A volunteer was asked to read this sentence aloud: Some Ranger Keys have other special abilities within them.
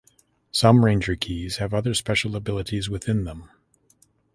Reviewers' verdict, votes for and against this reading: accepted, 2, 0